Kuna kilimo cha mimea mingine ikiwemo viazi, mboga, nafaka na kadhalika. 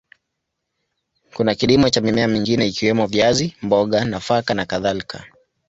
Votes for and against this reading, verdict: 0, 2, rejected